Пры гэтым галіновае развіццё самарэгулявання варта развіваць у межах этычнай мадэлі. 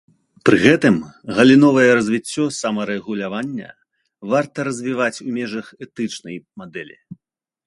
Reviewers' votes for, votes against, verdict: 2, 0, accepted